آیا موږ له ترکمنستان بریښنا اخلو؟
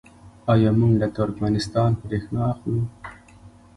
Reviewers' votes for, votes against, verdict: 2, 0, accepted